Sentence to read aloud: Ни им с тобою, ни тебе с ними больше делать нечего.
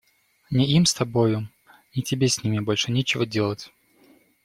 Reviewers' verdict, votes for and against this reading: rejected, 0, 2